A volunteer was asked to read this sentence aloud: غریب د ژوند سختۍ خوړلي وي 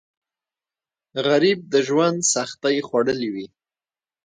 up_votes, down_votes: 1, 2